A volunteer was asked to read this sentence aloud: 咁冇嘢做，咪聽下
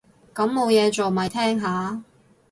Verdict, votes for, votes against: rejected, 2, 2